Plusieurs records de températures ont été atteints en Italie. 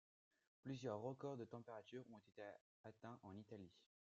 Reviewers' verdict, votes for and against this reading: rejected, 0, 2